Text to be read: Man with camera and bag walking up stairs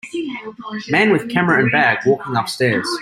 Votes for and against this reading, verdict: 2, 0, accepted